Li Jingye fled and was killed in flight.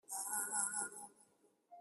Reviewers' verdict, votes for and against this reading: rejected, 0, 2